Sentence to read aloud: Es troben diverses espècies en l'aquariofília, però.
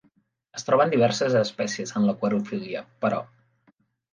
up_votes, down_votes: 2, 0